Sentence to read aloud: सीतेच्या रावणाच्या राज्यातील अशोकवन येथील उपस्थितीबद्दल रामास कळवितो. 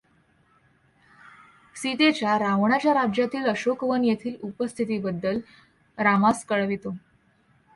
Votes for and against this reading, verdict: 2, 0, accepted